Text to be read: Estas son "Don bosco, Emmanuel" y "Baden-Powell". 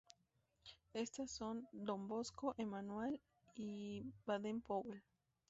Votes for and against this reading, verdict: 0, 2, rejected